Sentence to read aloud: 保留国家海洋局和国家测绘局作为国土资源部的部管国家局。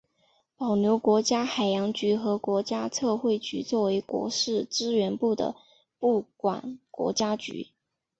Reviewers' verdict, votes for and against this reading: rejected, 0, 2